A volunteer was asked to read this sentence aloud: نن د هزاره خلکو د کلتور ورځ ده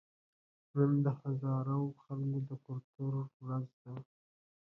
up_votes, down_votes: 2, 1